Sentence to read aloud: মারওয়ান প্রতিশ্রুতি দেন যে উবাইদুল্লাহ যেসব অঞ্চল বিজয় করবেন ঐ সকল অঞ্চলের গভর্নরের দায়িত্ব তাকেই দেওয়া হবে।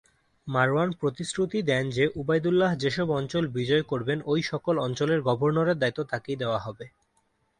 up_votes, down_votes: 2, 0